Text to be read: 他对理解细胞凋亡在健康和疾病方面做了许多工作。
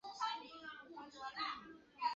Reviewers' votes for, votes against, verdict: 0, 2, rejected